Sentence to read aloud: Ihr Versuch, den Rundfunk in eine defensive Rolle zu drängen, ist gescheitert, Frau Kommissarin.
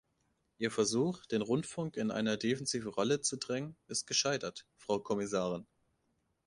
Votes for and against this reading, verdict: 1, 2, rejected